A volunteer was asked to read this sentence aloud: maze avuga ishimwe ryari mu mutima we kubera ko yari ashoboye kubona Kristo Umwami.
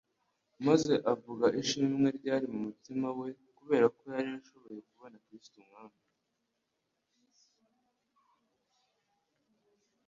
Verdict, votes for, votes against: rejected, 0, 2